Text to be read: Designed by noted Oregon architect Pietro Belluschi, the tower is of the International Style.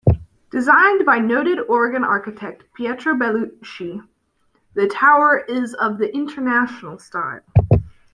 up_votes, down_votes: 2, 0